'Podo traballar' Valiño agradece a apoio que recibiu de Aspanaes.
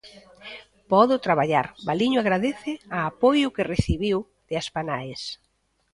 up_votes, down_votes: 1, 2